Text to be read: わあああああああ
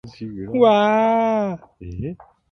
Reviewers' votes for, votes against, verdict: 2, 0, accepted